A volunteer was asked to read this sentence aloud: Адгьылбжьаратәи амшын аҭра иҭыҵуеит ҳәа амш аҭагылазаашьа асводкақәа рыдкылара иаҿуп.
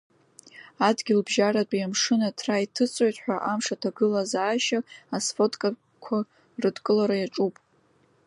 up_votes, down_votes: 1, 2